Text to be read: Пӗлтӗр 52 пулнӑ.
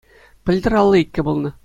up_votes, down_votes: 0, 2